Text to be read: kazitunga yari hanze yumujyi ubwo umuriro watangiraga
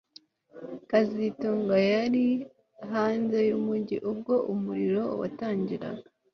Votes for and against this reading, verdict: 2, 0, accepted